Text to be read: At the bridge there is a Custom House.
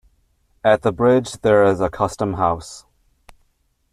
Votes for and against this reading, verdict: 3, 0, accepted